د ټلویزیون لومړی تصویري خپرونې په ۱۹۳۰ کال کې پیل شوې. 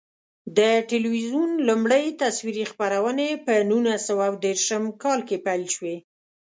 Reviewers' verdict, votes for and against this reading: rejected, 0, 2